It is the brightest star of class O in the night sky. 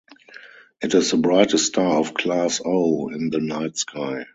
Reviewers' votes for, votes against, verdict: 2, 2, rejected